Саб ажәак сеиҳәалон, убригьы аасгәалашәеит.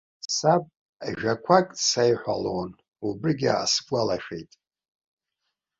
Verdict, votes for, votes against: rejected, 1, 2